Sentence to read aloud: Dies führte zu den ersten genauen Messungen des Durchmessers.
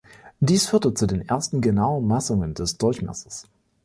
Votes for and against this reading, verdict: 1, 2, rejected